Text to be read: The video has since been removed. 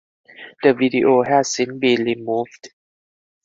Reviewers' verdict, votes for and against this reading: rejected, 0, 4